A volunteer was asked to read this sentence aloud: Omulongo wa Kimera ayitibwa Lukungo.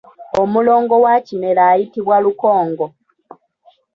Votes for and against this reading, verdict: 0, 2, rejected